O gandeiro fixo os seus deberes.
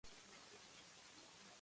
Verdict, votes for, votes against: rejected, 0, 2